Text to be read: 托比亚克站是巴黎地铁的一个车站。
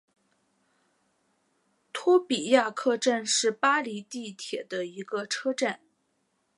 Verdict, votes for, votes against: accepted, 2, 0